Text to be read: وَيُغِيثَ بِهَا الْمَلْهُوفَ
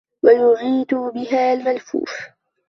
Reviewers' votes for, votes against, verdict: 0, 2, rejected